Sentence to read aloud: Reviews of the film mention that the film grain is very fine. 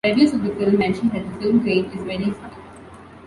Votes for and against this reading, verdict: 1, 2, rejected